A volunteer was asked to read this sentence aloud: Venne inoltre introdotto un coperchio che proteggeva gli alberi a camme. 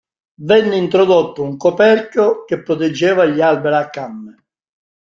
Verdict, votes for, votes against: rejected, 1, 2